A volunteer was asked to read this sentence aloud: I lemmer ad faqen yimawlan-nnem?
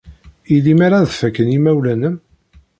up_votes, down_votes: 1, 2